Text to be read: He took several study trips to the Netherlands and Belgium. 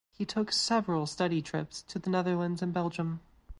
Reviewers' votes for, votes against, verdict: 2, 0, accepted